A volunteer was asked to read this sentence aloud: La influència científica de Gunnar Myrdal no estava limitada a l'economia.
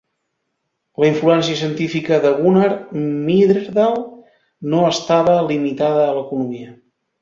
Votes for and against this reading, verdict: 0, 2, rejected